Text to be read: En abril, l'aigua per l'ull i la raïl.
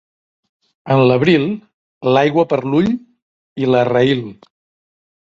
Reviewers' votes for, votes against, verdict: 0, 2, rejected